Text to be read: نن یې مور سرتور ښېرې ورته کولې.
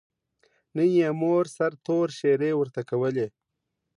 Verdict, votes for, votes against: accepted, 2, 0